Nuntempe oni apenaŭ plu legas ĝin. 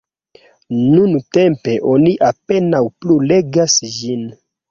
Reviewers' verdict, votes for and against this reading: accepted, 2, 0